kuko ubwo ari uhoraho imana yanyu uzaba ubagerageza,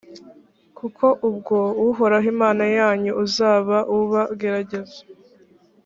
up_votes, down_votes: 0, 2